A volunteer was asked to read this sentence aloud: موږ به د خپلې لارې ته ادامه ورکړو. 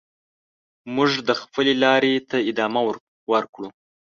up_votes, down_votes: 0, 2